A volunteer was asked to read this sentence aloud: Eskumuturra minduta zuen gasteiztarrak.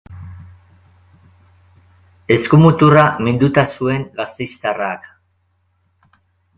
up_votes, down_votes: 0, 2